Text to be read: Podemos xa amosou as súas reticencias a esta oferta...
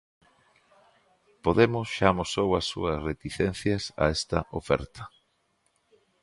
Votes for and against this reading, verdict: 2, 0, accepted